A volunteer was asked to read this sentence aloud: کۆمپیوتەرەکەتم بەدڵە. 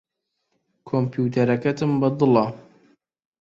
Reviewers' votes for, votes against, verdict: 2, 0, accepted